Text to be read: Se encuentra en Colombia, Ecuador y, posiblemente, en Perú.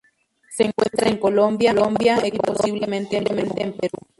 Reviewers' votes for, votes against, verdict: 0, 2, rejected